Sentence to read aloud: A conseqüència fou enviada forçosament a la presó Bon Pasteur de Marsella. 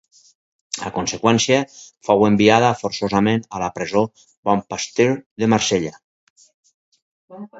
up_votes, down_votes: 6, 0